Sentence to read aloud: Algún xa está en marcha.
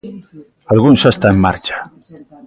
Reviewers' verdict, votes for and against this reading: accepted, 2, 0